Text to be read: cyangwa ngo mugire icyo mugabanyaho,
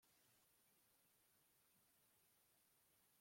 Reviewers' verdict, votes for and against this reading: rejected, 0, 2